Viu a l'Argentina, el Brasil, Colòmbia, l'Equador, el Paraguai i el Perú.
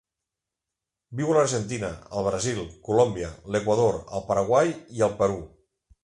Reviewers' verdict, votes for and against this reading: accepted, 3, 0